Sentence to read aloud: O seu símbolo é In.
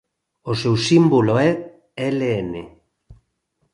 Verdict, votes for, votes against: rejected, 0, 2